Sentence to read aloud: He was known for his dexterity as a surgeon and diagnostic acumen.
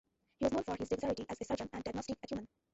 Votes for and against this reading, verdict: 1, 2, rejected